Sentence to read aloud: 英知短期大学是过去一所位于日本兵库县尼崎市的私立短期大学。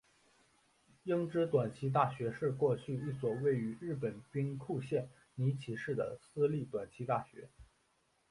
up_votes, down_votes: 2, 1